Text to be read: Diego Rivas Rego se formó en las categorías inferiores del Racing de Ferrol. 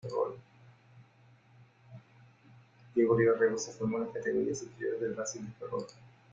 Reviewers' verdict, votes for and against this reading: rejected, 0, 2